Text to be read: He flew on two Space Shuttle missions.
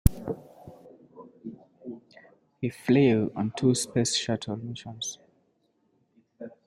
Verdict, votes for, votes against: accepted, 2, 0